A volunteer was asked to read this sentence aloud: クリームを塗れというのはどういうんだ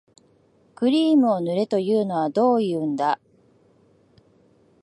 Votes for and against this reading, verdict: 2, 1, accepted